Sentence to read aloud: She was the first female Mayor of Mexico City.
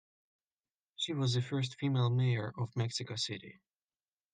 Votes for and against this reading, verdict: 2, 0, accepted